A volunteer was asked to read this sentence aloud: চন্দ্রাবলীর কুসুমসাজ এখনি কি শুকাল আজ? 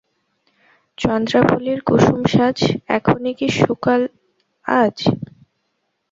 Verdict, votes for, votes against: rejected, 0, 2